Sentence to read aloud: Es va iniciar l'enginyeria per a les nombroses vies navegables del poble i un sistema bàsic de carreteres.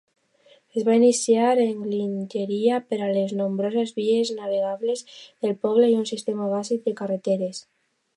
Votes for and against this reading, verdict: 0, 2, rejected